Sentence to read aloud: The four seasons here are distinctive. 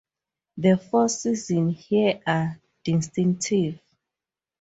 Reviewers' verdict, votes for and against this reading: accepted, 2, 0